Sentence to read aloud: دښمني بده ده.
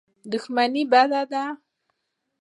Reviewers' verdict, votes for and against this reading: accepted, 2, 0